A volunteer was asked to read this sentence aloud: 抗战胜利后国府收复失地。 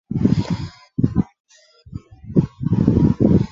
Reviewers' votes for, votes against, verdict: 1, 4, rejected